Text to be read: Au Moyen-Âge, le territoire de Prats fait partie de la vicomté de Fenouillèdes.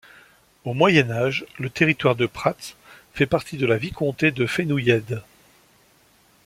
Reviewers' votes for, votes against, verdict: 2, 1, accepted